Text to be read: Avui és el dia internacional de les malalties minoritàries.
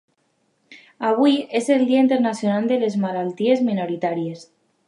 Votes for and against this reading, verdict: 2, 0, accepted